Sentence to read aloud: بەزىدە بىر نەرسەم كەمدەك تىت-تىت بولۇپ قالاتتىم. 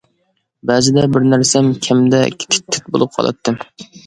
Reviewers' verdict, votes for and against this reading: accepted, 2, 0